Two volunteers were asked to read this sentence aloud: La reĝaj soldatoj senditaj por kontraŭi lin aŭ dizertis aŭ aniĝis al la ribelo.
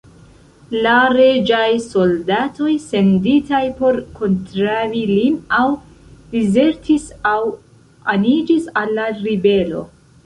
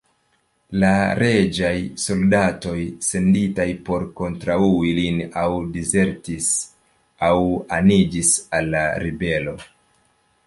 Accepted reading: second